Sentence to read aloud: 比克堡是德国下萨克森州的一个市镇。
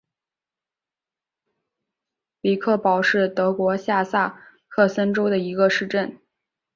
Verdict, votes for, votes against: accepted, 2, 0